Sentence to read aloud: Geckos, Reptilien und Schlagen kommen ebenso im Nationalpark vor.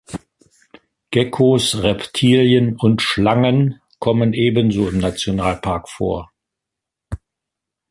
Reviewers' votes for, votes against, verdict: 1, 2, rejected